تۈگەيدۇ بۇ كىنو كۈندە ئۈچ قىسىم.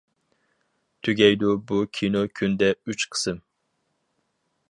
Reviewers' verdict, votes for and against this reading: accepted, 4, 0